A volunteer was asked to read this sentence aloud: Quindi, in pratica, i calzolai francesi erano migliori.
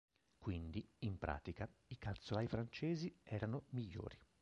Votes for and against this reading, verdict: 2, 0, accepted